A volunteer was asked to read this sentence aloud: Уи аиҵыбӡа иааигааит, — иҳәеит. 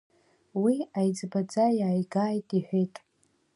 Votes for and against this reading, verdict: 1, 2, rejected